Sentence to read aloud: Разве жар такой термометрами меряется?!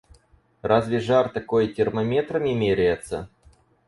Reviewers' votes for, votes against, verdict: 2, 2, rejected